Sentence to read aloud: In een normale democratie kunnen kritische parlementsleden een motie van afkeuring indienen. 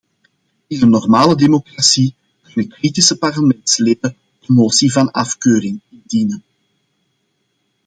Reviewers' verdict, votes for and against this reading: rejected, 1, 2